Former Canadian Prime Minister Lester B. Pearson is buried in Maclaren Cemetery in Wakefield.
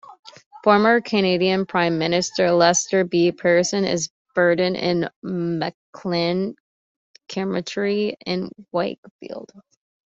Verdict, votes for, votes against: rejected, 1, 2